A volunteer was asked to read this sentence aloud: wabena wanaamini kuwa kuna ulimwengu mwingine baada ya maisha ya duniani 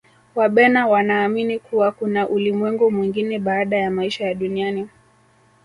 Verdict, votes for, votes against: rejected, 0, 2